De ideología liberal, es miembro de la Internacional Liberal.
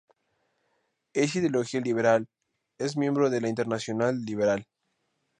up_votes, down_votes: 0, 2